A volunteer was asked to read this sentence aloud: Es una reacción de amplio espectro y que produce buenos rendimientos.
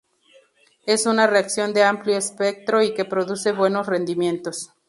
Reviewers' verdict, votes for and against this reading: accepted, 4, 0